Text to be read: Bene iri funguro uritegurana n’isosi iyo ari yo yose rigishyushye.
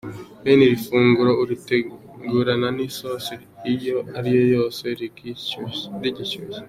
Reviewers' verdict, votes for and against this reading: rejected, 1, 2